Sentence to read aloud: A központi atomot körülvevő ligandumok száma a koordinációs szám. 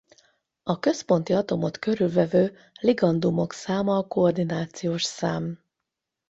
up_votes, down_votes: 8, 0